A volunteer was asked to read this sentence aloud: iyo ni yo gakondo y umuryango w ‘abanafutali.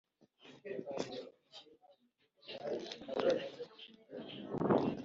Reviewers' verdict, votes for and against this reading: rejected, 0, 2